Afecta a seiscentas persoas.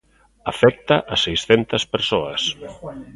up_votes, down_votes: 2, 0